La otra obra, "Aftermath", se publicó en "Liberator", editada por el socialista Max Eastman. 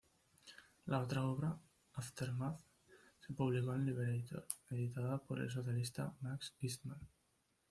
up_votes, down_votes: 1, 2